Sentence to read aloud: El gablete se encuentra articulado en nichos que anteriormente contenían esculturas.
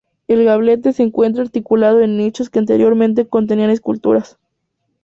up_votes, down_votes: 2, 0